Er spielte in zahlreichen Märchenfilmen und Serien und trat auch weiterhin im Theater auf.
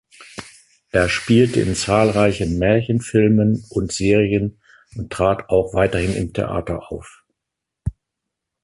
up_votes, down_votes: 2, 1